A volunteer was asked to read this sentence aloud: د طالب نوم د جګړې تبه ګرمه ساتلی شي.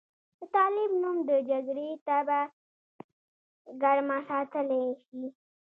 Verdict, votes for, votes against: rejected, 1, 2